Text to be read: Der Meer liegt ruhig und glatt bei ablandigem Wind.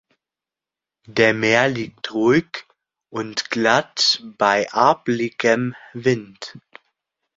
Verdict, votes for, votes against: rejected, 0, 2